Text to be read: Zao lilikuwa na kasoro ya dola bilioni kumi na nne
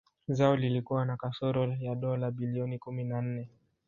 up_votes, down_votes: 1, 2